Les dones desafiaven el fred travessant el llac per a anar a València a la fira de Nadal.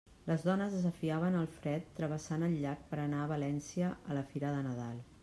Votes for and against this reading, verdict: 2, 0, accepted